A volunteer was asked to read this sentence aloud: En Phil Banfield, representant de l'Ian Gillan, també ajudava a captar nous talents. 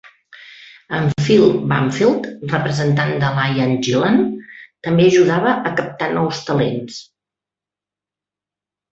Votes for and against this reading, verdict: 3, 1, accepted